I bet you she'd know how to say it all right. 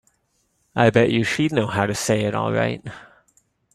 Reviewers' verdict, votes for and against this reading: accepted, 3, 0